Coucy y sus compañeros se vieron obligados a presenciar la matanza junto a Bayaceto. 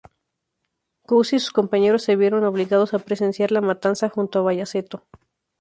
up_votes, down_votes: 2, 0